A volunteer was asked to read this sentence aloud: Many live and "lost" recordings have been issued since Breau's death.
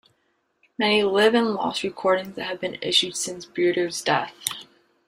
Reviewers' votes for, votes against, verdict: 1, 2, rejected